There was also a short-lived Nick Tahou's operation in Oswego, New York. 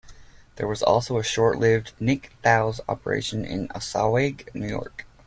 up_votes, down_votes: 0, 2